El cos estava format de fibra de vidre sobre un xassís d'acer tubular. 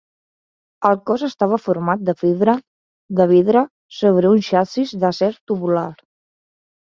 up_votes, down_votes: 0, 2